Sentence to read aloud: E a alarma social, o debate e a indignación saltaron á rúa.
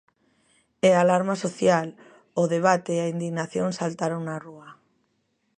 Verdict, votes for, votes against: accepted, 2, 0